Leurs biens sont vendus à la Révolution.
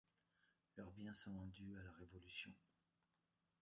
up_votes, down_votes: 1, 2